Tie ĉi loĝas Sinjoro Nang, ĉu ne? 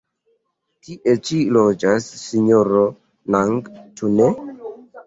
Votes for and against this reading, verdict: 2, 0, accepted